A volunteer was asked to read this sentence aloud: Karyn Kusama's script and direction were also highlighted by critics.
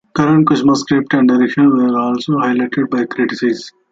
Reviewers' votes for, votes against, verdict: 0, 2, rejected